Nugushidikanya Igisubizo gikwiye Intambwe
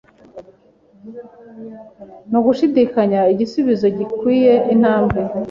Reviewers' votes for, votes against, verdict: 2, 0, accepted